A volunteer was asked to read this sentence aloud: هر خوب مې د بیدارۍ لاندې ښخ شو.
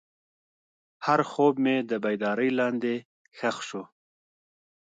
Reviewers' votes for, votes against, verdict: 2, 0, accepted